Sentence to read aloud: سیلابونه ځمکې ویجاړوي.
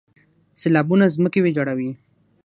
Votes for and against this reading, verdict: 0, 3, rejected